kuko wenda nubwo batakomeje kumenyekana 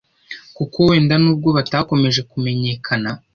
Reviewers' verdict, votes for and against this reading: accepted, 2, 0